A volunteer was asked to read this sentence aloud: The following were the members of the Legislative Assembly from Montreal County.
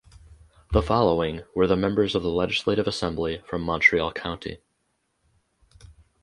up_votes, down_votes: 4, 0